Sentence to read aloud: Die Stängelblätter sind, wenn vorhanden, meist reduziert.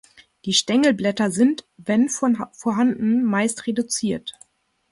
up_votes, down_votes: 0, 2